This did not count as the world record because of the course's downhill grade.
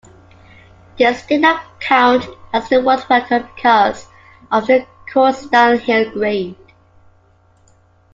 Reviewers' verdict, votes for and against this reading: accepted, 2, 1